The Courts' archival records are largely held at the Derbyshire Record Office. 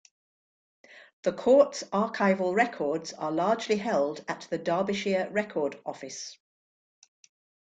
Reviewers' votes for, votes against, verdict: 2, 0, accepted